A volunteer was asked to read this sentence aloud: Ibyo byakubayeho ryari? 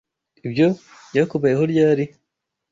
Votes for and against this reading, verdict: 2, 0, accepted